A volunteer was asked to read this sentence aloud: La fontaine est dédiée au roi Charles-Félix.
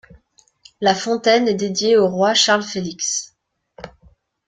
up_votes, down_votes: 2, 0